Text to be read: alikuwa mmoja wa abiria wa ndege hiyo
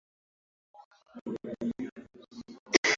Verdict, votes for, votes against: rejected, 0, 2